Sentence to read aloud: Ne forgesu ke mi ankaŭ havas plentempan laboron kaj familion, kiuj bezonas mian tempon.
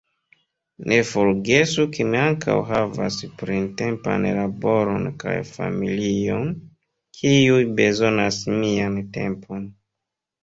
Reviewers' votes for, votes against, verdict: 1, 2, rejected